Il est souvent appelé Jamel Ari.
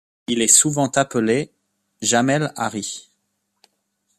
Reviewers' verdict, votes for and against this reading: accepted, 2, 0